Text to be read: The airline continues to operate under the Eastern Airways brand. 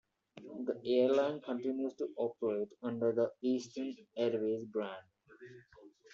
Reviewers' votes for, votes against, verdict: 2, 0, accepted